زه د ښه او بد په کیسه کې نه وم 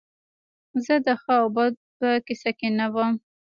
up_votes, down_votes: 3, 0